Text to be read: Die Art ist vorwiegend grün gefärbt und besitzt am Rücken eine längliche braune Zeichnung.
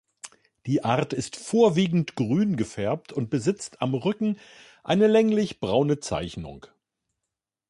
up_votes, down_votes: 1, 2